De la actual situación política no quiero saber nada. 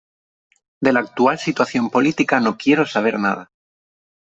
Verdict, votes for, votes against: accepted, 2, 0